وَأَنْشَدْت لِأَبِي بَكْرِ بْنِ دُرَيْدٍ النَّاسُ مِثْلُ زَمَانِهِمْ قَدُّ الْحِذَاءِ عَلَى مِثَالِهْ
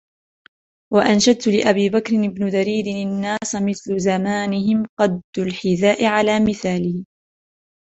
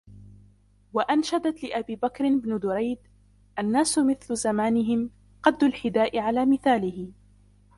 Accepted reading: first